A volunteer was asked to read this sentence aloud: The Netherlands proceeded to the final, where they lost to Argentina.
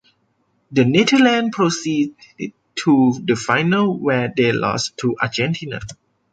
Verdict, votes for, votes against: rejected, 0, 2